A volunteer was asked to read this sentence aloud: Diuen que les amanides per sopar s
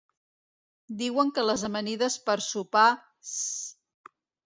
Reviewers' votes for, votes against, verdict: 1, 2, rejected